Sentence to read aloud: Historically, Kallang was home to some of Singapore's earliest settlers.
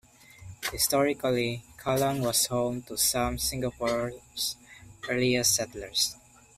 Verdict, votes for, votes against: rejected, 1, 2